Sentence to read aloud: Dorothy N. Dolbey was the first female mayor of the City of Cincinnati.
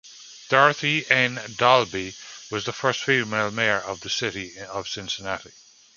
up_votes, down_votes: 1, 2